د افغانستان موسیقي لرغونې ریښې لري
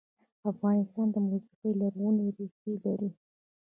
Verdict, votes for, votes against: rejected, 0, 2